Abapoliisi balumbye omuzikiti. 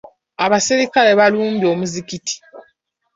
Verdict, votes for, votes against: accepted, 2, 1